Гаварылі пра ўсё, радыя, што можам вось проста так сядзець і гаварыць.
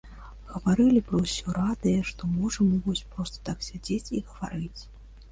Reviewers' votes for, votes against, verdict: 1, 3, rejected